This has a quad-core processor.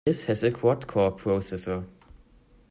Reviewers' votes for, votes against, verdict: 2, 0, accepted